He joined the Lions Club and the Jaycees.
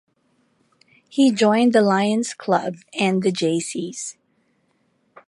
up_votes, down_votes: 2, 0